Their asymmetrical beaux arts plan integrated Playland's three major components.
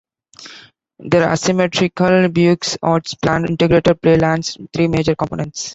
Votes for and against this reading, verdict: 0, 2, rejected